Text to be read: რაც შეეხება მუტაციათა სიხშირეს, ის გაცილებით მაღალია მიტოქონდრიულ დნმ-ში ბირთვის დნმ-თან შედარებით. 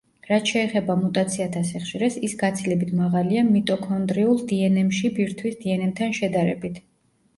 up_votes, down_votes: 1, 2